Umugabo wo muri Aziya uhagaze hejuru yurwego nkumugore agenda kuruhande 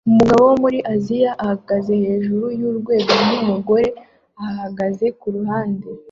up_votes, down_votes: 1, 2